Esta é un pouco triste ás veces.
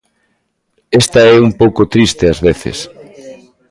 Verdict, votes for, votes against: rejected, 1, 2